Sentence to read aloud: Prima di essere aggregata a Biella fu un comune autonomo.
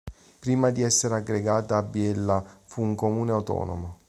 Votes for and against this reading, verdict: 2, 0, accepted